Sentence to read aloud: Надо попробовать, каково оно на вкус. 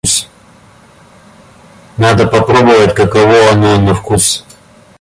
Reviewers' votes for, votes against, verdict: 0, 2, rejected